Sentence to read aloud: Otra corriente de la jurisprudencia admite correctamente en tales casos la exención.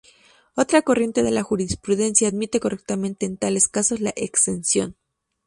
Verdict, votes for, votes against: accepted, 2, 0